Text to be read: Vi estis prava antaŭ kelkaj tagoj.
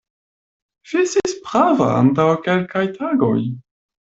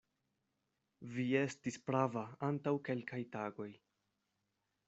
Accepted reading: second